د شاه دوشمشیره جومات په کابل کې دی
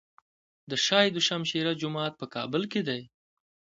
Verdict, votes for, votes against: accepted, 2, 0